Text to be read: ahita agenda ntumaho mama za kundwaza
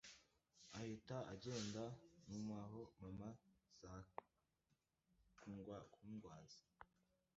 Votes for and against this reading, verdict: 0, 2, rejected